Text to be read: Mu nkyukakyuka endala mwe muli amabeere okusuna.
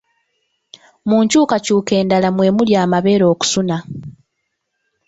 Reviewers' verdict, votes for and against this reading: accepted, 3, 0